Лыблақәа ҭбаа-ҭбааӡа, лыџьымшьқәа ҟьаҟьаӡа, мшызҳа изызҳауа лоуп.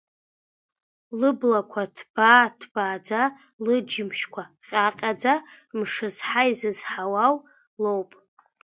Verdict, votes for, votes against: accepted, 2, 0